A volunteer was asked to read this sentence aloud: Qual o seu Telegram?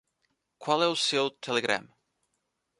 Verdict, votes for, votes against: rejected, 0, 2